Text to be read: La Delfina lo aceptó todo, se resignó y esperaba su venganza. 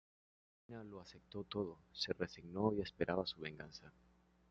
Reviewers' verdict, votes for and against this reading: rejected, 1, 2